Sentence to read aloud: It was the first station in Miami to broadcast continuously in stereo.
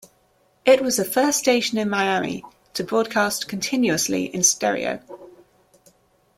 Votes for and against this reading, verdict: 2, 0, accepted